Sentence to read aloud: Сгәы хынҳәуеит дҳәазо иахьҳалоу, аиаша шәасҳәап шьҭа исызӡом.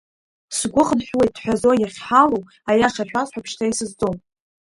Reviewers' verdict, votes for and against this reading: rejected, 0, 2